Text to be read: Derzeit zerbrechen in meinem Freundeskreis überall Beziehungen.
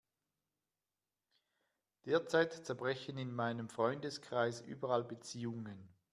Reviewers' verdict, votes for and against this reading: accepted, 2, 0